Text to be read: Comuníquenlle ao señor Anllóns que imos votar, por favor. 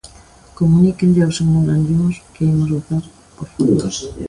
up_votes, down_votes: 0, 2